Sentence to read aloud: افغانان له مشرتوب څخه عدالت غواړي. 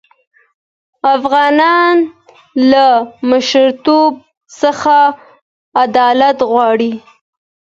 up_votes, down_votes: 2, 0